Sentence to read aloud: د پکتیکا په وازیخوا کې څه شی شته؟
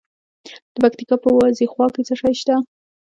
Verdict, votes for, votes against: rejected, 0, 2